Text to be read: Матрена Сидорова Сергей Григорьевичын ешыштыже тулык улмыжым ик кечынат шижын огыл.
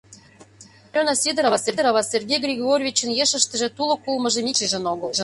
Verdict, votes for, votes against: rejected, 0, 2